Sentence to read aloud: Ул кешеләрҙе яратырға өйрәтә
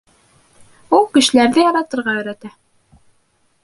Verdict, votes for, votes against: accepted, 3, 1